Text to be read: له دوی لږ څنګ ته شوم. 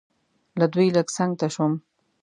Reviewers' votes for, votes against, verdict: 2, 0, accepted